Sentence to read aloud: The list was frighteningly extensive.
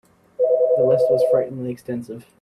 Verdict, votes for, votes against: accepted, 2, 0